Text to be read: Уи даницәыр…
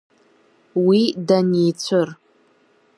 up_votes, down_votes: 2, 0